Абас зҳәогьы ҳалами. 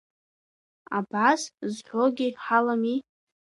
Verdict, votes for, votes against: accepted, 2, 1